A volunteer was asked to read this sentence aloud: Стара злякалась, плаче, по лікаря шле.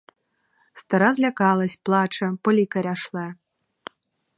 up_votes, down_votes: 4, 0